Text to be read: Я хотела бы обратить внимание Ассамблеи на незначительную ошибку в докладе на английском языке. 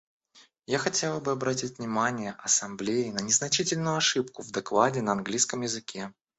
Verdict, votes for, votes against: rejected, 1, 2